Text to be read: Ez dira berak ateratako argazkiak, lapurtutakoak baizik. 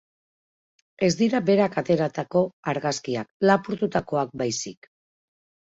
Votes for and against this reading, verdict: 4, 0, accepted